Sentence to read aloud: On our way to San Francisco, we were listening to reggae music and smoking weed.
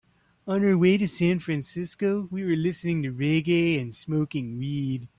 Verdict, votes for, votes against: rejected, 0, 2